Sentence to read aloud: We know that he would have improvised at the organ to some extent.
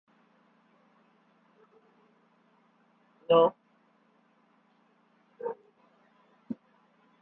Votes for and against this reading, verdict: 0, 2, rejected